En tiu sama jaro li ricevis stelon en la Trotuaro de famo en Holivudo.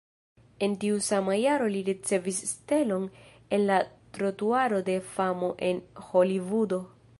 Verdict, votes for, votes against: accepted, 2, 0